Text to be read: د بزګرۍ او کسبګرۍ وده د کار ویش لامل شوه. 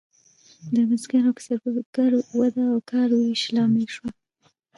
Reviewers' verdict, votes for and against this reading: rejected, 0, 2